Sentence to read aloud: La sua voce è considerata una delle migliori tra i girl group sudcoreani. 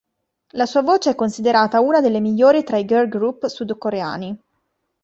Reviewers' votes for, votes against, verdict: 2, 0, accepted